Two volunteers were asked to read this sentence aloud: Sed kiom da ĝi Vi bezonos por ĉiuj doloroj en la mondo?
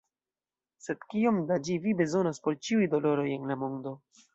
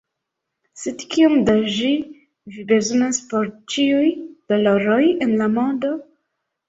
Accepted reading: first